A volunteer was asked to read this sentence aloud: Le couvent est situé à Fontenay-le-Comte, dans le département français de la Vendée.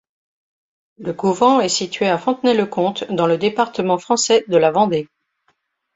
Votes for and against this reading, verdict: 2, 0, accepted